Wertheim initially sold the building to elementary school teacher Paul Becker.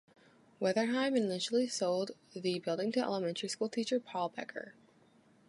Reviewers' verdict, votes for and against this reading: rejected, 0, 2